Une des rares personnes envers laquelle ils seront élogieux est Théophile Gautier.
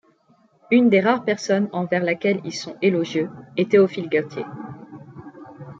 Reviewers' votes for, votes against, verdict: 0, 2, rejected